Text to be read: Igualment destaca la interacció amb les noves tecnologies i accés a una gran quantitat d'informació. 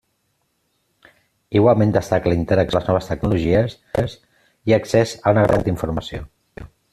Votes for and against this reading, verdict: 0, 2, rejected